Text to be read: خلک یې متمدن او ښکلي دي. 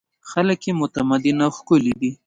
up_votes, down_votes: 2, 1